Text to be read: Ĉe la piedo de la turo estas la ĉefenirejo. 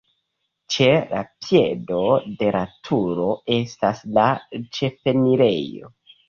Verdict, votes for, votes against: accepted, 2, 0